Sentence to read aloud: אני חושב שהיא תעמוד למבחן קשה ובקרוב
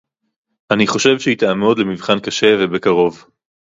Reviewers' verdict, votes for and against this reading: rejected, 0, 2